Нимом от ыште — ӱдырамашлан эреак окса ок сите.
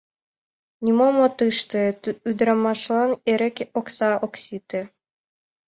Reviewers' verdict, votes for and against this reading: rejected, 0, 2